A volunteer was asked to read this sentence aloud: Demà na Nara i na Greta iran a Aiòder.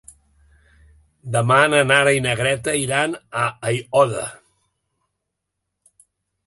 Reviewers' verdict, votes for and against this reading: accepted, 2, 0